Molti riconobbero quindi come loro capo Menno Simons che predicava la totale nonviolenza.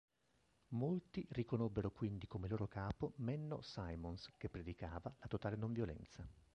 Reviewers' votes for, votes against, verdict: 0, 2, rejected